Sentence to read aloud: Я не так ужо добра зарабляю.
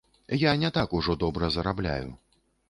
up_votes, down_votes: 2, 0